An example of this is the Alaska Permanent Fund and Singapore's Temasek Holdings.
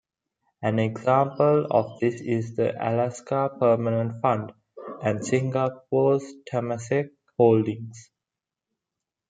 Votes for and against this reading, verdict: 2, 0, accepted